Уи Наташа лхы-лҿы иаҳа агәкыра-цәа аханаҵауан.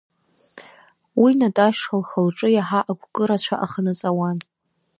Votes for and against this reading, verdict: 2, 0, accepted